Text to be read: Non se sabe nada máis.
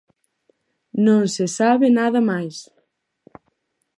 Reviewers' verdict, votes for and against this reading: accepted, 4, 0